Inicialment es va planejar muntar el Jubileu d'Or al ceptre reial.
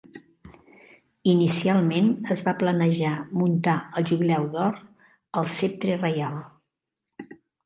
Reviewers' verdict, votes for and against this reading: accepted, 2, 0